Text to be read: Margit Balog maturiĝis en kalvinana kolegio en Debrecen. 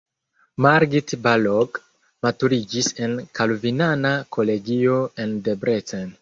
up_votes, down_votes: 0, 2